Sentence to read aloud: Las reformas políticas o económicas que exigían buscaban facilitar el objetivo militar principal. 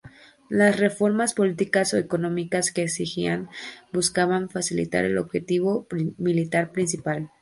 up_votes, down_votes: 2, 4